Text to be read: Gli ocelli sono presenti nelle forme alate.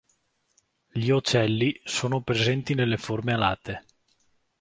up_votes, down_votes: 1, 2